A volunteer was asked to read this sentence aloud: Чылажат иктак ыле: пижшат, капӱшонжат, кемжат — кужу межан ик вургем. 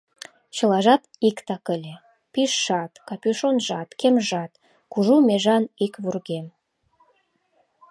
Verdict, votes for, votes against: rejected, 1, 2